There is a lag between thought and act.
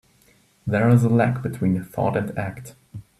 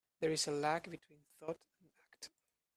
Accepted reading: first